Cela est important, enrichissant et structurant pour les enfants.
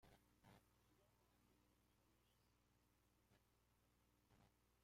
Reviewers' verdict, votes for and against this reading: rejected, 0, 2